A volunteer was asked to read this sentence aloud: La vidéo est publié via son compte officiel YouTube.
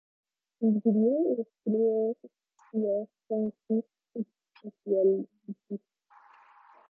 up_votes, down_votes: 0, 2